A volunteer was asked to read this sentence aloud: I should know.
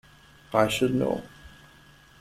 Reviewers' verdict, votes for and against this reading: accepted, 2, 0